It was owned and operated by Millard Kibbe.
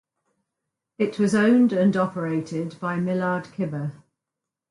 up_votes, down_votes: 4, 0